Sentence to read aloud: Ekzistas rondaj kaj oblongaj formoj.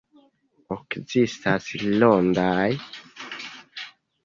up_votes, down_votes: 1, 2